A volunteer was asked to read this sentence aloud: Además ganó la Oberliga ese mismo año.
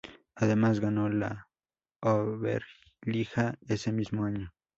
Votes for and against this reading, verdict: 0, 2, rejected